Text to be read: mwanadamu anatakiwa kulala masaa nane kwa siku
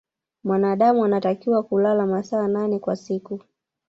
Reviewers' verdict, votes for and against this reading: rejected, 0, 2